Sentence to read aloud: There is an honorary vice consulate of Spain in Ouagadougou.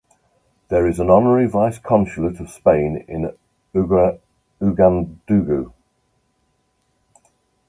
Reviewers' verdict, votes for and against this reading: rejected, 0, 2